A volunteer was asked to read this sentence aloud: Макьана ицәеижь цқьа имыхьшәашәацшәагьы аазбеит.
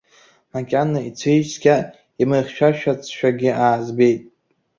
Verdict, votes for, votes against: rejected, 1, 2